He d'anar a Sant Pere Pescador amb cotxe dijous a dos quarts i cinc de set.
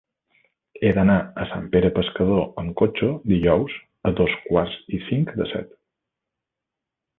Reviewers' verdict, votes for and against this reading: accepted, 3, 0